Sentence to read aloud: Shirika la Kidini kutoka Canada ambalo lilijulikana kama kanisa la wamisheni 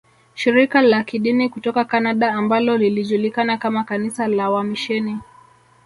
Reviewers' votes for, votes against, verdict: 1, 2, rejected